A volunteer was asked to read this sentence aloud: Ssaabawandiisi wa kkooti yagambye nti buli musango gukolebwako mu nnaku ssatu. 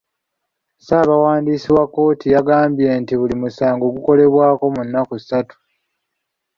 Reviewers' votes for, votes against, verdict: 2, 0, accepted